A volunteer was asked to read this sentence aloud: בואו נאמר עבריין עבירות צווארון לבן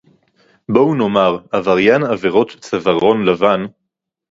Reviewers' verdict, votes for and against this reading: accepted, 2, 0